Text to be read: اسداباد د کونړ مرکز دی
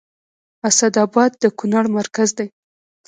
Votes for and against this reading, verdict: 2, 1, accepted